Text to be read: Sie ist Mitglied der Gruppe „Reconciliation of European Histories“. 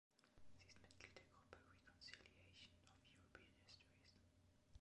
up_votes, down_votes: 0, 2